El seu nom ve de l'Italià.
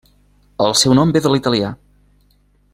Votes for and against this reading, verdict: 3, 0, accepted